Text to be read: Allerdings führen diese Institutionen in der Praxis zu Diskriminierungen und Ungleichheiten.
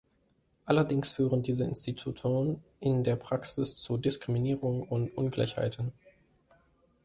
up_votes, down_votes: 0, 2